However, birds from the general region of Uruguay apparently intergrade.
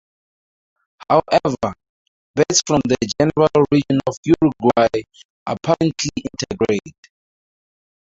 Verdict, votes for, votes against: rejected, 0, 4